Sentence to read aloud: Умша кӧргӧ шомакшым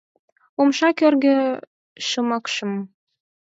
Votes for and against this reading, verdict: 2, 4, rejected